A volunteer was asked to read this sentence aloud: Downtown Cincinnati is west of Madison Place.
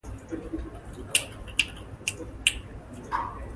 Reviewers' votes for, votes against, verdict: 0, 2, rejected